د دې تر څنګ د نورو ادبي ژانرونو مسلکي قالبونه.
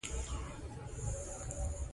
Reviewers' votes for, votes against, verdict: 1, 2, rejected